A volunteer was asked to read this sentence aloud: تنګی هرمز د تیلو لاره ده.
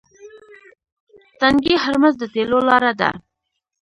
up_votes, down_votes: 1, 2